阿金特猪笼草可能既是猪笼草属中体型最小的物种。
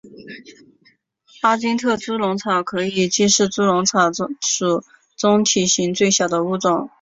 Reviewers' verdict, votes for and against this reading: accepted, 4, 1